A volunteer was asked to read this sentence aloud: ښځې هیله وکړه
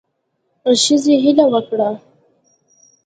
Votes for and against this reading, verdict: 2, 0, accepted